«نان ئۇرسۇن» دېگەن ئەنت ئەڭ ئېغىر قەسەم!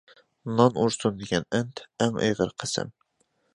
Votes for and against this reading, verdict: 2, 0, accepted